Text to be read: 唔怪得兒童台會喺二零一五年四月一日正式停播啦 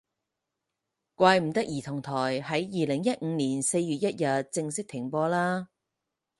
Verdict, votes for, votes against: rejected, 2, 4